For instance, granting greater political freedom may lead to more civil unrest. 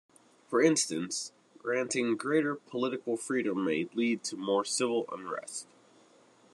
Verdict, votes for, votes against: accepted, 2, 1